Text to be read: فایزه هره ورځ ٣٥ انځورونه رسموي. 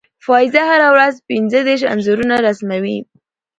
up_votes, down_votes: 0, 2